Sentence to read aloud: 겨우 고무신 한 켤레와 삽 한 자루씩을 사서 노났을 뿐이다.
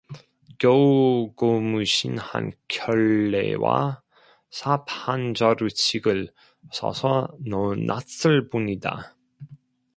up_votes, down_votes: 0, 2